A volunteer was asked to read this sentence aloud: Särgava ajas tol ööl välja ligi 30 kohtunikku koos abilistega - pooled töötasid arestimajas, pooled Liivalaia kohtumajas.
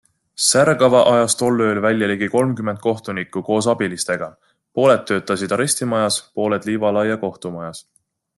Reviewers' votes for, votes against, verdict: 0, 2, rejected